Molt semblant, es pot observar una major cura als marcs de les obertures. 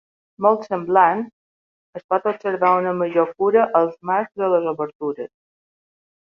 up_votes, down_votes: 0, 3